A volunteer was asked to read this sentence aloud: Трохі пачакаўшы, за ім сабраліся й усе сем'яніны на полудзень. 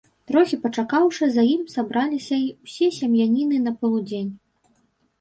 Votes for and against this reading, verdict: 1, 2, rejected